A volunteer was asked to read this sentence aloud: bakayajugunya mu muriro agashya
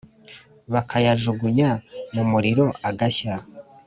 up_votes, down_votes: 2, 0